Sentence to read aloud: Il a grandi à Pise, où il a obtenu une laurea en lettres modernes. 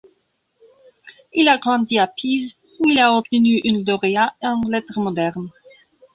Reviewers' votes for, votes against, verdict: 2, 0, accepted